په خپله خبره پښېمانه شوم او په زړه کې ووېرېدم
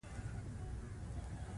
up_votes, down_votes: 1, 2